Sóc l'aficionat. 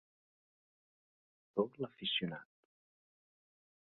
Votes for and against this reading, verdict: 2, 3, rejected